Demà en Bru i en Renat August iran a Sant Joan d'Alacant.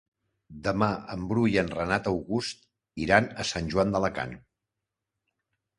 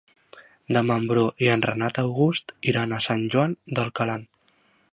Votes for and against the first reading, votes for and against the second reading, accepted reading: 2, 0, 1, 2, first